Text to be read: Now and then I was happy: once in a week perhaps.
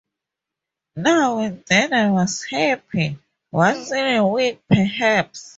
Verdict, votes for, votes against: accepted, 4, 0